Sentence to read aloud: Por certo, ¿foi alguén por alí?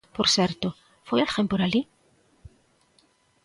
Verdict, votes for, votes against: accepted, 3, 0